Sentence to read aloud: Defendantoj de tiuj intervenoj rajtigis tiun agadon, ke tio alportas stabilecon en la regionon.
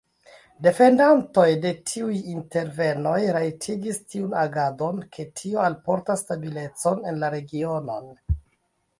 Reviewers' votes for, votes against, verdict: 2, 0, accepted